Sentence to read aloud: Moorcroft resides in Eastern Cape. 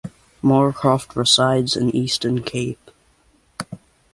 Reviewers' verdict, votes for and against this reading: accepted, 2, 0